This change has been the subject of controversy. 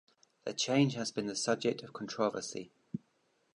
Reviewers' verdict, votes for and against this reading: rejected, 1, 2